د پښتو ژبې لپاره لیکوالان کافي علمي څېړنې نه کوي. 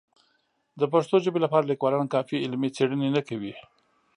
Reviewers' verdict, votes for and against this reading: accepted, 2, 0